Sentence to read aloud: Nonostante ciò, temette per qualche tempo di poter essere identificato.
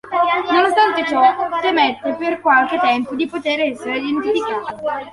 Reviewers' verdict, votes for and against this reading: accepted, 2, 1